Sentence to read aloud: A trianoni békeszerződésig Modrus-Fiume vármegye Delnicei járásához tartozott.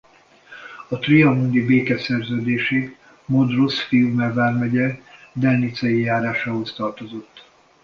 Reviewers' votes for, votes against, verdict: 2, 0, accepted